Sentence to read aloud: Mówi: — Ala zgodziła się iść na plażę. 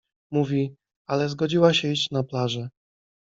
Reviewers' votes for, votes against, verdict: 2, 0, accepted